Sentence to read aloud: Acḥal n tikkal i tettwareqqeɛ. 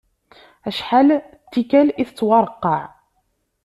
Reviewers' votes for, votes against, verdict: 1, 2, rejected